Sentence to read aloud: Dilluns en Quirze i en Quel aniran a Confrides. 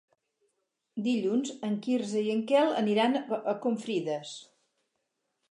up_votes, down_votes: 0, 2